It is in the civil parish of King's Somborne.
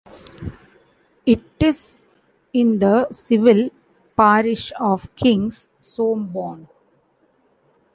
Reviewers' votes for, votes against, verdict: 0, 2, rejected